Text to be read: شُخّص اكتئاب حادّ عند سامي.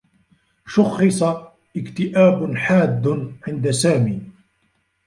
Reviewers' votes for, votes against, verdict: 0, 2, rejected